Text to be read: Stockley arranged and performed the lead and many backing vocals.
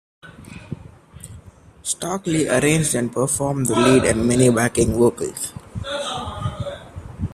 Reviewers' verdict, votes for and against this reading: rejected, 1, 2